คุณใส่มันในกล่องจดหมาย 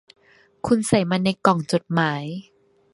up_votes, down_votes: 2, 1